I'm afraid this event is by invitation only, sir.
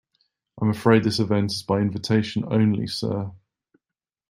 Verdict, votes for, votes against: accepted, 2, 0